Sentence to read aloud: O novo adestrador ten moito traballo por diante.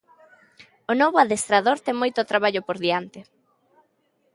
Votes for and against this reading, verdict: 2, 0, accepted